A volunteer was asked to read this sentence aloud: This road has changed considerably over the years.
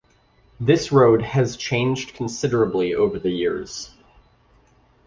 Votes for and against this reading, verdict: 2, 0, accepted